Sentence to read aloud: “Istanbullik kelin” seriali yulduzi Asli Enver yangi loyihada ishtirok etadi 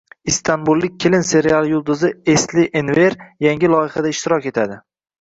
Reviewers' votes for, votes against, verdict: 2, 0, accepted